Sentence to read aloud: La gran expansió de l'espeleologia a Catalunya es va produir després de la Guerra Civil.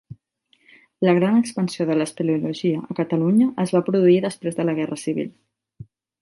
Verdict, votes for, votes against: accepted, 2, 0